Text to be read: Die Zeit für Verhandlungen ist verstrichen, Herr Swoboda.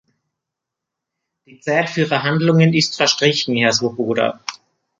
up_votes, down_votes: 2, 0